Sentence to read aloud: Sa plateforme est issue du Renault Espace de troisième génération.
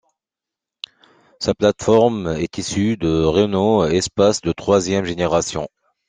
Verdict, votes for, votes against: accepted, 2, 1